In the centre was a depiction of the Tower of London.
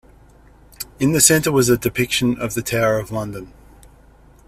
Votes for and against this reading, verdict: 2, 0, accepted